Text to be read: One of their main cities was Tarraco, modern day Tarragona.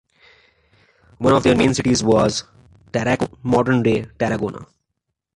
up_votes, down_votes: 1, 2